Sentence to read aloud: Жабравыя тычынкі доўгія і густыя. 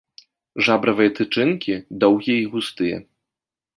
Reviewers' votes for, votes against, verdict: 2, 0, accepted